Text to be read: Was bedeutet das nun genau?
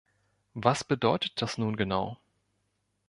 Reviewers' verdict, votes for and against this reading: accepted, 2, 0